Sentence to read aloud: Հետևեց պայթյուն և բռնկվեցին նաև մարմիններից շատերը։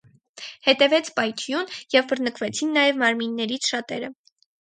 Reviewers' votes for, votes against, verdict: 4, 0, accepted